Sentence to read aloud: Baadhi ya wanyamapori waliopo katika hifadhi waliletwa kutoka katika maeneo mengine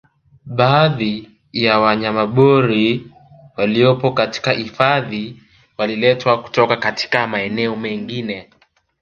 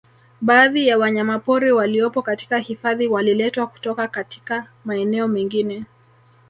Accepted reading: second